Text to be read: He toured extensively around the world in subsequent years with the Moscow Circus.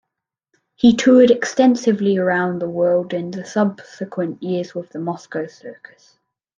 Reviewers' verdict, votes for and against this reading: rejected, 0, 2